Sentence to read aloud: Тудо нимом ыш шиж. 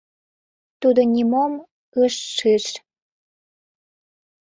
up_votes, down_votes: 0, 2